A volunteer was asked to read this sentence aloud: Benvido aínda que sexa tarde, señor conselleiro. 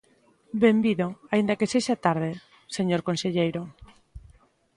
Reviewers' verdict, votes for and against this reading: accepted, 2, 0